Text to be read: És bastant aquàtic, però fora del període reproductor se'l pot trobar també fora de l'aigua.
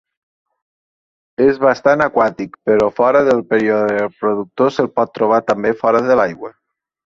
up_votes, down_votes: 2, 0